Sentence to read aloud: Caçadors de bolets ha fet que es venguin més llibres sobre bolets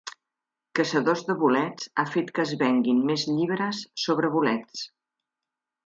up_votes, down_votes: 2, 0